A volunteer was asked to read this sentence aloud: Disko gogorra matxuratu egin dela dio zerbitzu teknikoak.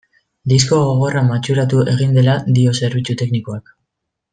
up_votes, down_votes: 2, 0